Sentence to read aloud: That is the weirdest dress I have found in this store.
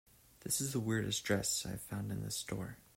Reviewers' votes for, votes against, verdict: 0, 2, rejected